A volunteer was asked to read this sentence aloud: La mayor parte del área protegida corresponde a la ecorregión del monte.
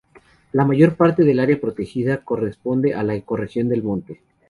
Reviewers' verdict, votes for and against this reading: accepted, 2, 0